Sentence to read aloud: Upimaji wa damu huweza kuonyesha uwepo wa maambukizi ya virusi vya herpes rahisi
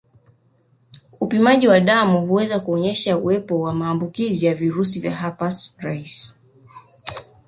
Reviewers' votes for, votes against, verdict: 2, 1, accepted